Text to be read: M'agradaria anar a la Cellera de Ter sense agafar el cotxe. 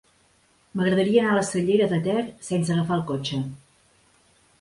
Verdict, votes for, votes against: rejected, 0, 2